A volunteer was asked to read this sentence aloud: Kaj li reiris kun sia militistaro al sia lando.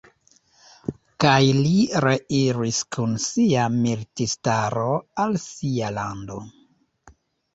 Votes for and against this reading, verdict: 1, 2, rejected